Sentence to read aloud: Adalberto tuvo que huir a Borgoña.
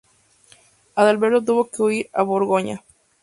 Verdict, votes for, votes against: accepted, 2, 0